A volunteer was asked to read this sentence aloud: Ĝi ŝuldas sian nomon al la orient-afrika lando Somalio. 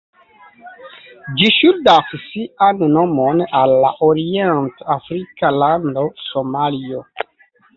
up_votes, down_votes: 1, 2